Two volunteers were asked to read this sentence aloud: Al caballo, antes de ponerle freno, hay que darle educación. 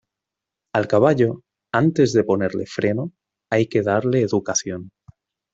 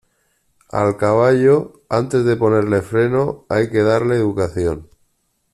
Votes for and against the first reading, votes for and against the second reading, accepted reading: 2, 1, 0, 2, first